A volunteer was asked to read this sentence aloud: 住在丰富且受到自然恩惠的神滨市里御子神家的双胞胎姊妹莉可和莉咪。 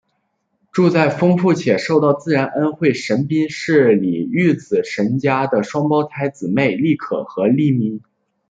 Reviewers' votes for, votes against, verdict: 1, 2, rejected